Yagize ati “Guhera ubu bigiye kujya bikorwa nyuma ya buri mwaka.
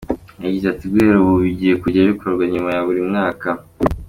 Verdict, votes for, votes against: accepted, 2, 0